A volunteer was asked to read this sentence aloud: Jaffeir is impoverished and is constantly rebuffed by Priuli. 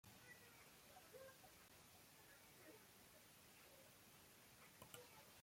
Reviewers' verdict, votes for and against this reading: rejected, 1, 2